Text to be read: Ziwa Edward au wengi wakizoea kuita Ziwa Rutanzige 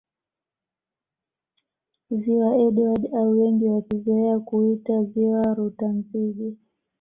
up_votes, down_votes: 2, 0